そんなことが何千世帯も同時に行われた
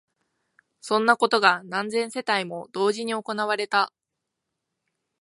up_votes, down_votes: 2, 0